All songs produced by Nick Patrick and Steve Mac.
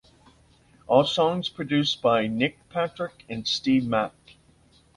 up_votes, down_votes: 2, 0